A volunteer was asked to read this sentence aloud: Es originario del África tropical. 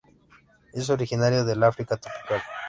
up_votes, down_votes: 1, 2